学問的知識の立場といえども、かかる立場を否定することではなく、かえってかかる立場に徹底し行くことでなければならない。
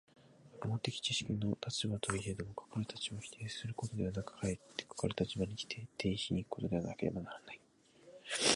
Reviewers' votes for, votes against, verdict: 1, 2, rejected